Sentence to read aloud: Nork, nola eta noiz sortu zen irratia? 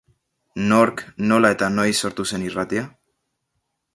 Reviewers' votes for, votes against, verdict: 5, 0, accepted